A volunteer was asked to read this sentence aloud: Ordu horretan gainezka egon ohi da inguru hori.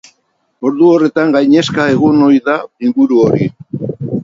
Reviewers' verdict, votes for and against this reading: accepted, 8, 2